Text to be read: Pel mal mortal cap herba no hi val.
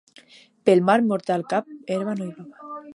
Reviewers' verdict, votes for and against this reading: rejected, 0, 2